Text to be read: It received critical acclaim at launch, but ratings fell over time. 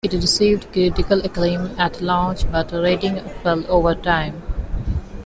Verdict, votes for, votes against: rejected, 1, 2